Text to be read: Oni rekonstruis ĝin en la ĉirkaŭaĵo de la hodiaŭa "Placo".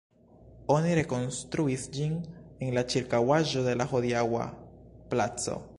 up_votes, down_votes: 1, 2